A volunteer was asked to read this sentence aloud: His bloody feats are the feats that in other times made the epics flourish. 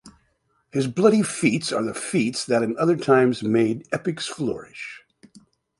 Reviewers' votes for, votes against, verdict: 0, 2, rejected